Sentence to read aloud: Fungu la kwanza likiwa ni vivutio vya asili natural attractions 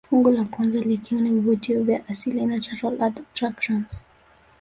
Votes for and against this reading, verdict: 1, 2, rejected